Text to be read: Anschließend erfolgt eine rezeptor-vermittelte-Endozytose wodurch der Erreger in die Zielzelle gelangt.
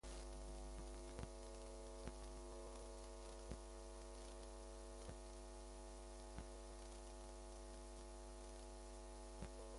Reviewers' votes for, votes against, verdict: 0, 2, rejected